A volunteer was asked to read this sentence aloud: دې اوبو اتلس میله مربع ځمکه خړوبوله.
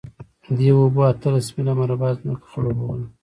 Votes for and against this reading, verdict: 2, 0, accepted